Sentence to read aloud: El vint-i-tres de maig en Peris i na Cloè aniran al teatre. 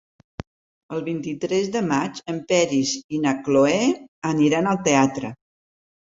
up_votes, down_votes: 3, 0